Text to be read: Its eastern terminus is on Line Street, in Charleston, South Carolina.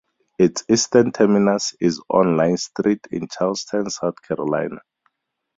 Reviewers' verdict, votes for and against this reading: accepted, 2, 0